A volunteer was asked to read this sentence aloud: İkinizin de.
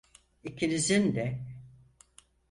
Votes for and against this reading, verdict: 6, 0, accepted